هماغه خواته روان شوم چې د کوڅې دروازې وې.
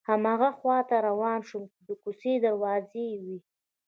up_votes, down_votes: 2, 0